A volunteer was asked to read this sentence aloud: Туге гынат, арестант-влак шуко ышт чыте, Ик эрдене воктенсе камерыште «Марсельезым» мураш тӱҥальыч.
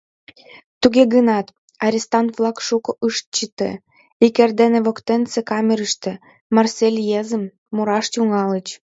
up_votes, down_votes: 1, 2